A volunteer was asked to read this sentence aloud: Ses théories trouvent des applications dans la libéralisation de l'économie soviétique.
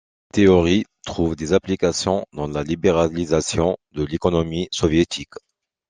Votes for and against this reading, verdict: 1, 2, rejected